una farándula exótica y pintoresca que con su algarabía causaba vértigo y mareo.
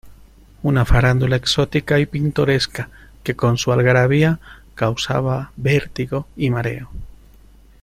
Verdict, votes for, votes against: accepted, 2, 0